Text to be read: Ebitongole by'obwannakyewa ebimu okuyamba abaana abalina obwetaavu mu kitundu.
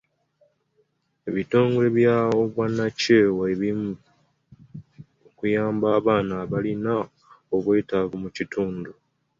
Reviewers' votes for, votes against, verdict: 2, 1, accepted